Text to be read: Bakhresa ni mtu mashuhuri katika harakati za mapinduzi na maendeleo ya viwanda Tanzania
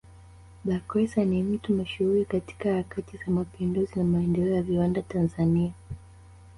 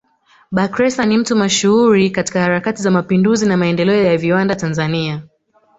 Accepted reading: second